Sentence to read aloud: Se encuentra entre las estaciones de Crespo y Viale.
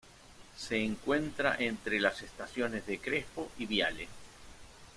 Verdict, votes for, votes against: accepted, 2, 0